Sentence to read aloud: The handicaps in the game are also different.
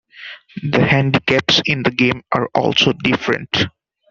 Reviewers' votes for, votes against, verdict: 2, 0, accepted